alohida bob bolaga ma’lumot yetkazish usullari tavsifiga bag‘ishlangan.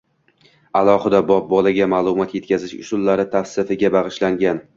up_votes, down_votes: 2, 1